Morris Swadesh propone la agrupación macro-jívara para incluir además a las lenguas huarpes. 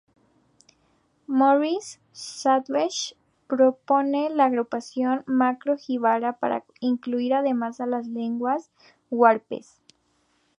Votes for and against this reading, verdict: 2, 0, accepted